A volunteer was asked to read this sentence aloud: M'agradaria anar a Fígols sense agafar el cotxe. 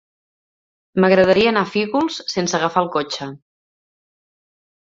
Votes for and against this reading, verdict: 3, 0, accepted